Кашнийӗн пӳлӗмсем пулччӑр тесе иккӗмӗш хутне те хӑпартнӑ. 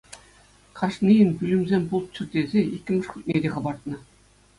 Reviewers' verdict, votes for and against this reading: accepted, 2, 0